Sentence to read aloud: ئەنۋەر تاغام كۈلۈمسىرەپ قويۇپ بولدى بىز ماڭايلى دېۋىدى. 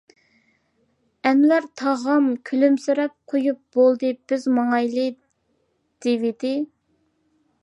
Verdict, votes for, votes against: accepted, 2, 0